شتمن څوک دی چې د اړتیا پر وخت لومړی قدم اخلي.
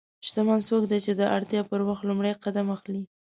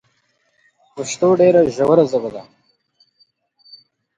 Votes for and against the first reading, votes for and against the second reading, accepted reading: 2, 0, 0, 2, first